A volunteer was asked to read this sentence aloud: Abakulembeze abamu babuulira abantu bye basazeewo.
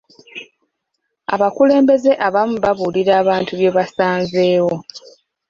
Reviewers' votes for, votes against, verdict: 1, 2, rejected